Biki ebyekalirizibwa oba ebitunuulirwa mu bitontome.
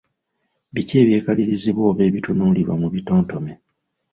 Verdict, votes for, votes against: accepted, 2, 0